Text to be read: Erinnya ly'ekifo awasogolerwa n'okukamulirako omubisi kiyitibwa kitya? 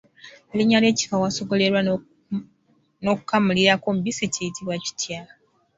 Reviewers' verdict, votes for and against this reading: rejected, 1, 2